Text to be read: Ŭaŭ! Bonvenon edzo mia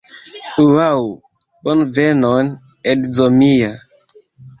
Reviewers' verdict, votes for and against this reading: accepted, 2, 0